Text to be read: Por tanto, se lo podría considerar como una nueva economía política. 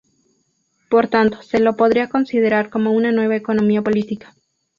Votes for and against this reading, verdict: 2, 0, accepted